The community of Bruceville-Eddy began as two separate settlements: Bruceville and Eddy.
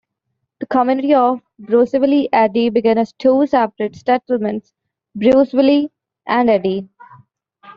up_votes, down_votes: 1, 2